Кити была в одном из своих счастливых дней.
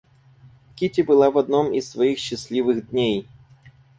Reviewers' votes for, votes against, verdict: 4, 0, accepted